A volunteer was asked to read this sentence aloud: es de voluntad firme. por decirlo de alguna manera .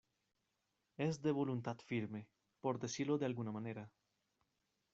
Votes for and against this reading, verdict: 0, 2, rejected